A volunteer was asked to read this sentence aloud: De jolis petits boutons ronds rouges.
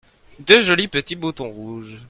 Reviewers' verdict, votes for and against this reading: rejected, 1, 2